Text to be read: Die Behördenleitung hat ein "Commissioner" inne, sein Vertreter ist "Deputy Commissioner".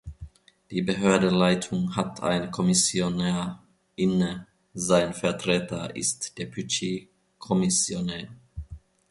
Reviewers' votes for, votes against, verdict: 0, 2, rejected